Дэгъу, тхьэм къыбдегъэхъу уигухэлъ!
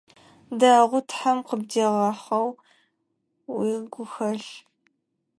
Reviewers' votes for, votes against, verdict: 2, 4, rejected